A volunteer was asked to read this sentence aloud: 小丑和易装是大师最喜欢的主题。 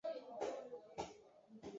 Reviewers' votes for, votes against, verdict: 0, 2, rejected